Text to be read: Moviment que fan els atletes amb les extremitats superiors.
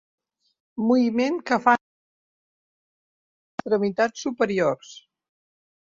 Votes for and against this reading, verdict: 0, 2, rejected